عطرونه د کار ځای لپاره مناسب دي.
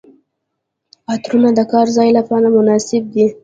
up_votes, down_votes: 0, 2